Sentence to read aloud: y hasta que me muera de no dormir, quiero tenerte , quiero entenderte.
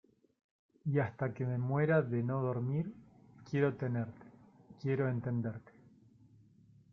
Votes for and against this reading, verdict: 0, 2, rejected